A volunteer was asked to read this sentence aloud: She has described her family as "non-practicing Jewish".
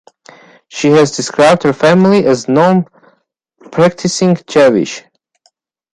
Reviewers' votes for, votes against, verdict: 0, 2, rejected